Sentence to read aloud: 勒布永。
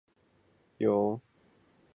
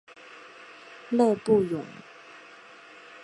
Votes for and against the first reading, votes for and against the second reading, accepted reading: 0, 3, 3, 0, second